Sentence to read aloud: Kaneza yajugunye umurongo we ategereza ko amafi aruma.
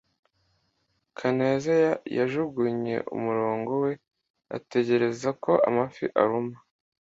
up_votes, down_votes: 0, 2